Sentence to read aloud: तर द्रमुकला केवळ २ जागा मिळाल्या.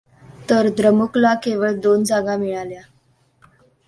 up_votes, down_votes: 0, 2